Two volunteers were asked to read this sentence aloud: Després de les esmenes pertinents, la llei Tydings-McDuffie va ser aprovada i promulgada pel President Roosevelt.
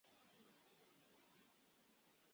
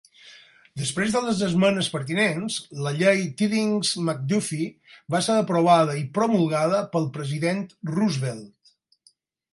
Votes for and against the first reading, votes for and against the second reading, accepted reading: 1, 2, 4, 0, second